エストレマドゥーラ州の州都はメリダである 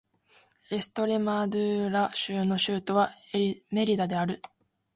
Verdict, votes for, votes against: accepted, 4, 1